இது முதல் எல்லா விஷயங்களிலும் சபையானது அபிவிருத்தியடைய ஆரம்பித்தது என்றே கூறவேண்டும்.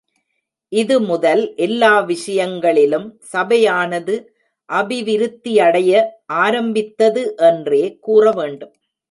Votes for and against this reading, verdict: 1, 2, rejected